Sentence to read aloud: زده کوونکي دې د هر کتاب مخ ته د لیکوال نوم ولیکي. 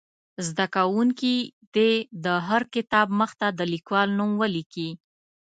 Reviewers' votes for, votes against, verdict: 2, 0, accepted